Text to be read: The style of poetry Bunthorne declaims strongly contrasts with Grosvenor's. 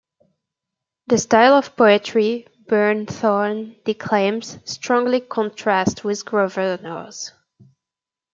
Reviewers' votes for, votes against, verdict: 0, 2, rejected